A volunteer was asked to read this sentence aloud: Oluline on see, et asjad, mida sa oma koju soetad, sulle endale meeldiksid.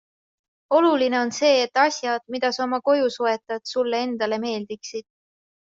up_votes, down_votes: 2, 0